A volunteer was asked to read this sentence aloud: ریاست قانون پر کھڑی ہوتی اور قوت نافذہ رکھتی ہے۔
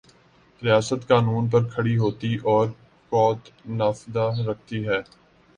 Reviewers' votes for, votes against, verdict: 1, 2, rejected